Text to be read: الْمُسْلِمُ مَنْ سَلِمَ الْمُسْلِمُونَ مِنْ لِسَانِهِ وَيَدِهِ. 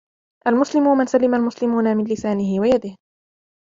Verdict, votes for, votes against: rejected, 0, 2